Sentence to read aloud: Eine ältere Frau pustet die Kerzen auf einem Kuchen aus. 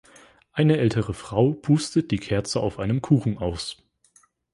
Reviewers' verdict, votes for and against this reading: rejected, 1, 2